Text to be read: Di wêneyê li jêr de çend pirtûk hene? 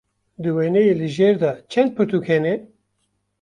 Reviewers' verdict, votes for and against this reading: accepted, 2, 0